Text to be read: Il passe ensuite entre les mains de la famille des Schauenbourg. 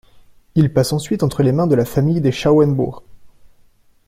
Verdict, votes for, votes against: accepted, 2, 0